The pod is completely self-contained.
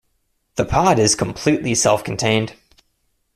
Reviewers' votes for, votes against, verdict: 2, 0, accepted